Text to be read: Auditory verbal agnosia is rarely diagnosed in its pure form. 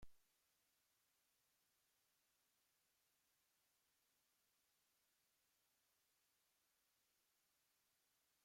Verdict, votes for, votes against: rejected, 0, 2